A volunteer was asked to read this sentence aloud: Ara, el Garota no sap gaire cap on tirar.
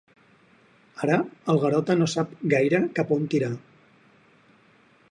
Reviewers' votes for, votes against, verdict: 8, 0, accepted